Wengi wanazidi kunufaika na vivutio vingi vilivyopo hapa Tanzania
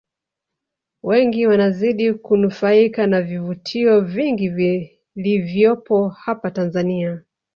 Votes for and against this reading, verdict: 2, 0, accepted